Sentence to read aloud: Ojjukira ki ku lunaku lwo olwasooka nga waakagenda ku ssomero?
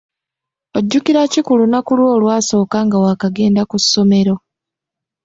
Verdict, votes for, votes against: accepted, 2, 0